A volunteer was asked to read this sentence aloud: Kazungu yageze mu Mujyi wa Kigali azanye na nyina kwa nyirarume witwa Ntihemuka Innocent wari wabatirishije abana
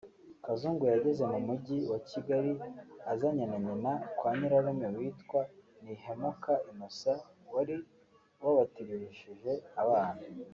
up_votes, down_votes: 2, 1